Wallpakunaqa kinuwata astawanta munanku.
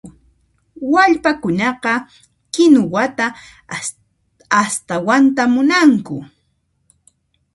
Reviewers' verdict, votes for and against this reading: accepted, 2, 0